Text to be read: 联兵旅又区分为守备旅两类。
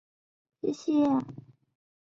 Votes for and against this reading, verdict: 1, 4, rejected